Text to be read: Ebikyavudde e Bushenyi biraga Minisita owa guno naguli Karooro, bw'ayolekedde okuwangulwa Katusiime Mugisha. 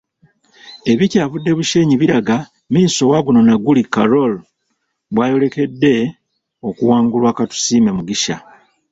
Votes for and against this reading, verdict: 2, 3, rejected